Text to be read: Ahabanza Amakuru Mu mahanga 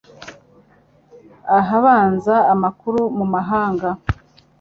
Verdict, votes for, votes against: accepted, 3, 0